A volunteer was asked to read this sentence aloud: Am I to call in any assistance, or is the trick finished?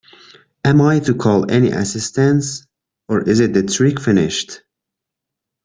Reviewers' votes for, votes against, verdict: 1, 2, rejected